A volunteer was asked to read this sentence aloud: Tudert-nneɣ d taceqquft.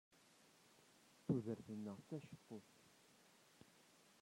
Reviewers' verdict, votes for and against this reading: rejected, 0, 2